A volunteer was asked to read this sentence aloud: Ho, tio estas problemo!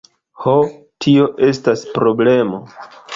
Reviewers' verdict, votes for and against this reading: accepted, 2, 0